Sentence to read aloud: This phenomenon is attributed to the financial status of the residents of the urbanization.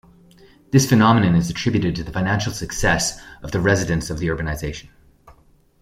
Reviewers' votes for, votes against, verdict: 0, 2, rejected